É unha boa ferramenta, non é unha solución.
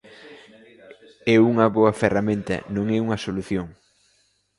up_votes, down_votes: 2, 0